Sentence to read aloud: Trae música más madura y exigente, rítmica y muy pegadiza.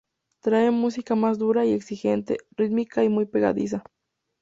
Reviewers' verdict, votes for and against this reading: rejected, 0, 2